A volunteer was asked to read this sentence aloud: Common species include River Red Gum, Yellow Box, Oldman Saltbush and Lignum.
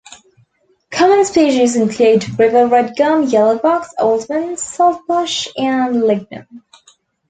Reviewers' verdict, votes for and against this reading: rejected, 0, 2